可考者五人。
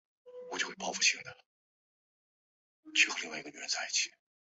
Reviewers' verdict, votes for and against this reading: rejected, 1, 3